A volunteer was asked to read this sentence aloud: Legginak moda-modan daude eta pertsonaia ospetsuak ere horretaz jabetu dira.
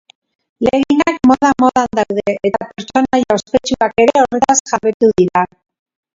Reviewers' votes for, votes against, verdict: 0, 2, rejected